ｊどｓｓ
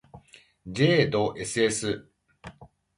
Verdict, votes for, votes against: accepted, 2, 0